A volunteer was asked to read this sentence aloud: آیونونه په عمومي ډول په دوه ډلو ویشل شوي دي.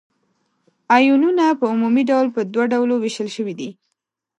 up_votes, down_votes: 1, 2